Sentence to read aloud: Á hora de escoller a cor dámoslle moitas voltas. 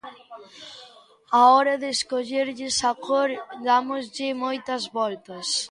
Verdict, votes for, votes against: rejected, 0, 2